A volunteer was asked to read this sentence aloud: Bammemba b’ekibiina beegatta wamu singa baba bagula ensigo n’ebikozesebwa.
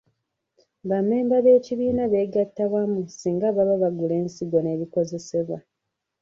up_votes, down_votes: 1, 2